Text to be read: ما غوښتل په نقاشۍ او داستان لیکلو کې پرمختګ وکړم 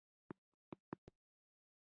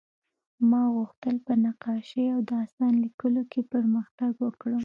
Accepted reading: second